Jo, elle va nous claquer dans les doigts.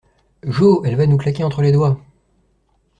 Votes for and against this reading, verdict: 0, 2, rejected